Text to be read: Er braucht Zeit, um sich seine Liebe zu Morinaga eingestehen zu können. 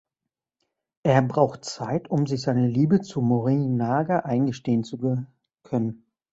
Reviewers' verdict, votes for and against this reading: rejected, 0, 2